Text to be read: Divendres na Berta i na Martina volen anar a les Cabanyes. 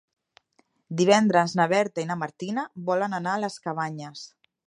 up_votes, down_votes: 5, 0